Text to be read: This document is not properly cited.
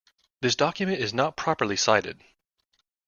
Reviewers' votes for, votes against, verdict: 2, 0, accepted